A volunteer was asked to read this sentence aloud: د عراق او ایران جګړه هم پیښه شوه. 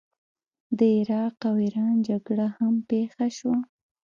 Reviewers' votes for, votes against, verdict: 3, 0, accepted